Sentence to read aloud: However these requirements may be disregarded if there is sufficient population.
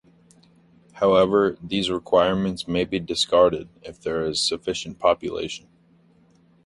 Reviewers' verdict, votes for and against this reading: rejected, 0, 2